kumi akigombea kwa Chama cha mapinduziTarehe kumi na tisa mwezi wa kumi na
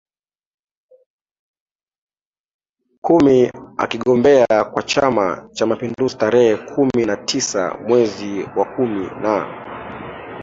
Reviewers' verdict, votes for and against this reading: accepted, 2, 0